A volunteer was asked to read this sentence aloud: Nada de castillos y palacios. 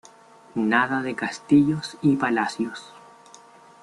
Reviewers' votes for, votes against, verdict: 2, 0, accepted